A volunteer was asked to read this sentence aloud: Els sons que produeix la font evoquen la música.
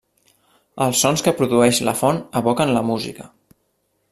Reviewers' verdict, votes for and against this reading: accepted, 3, 0